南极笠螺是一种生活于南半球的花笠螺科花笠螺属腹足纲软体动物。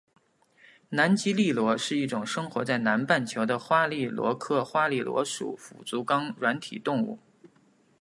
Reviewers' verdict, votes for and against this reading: accepted, 2, 0